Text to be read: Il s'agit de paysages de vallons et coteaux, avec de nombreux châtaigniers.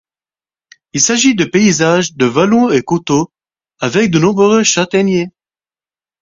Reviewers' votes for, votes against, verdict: 4, 2, accepted